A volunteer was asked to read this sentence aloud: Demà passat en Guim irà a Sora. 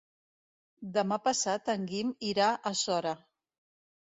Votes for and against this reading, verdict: 2, 0, accepted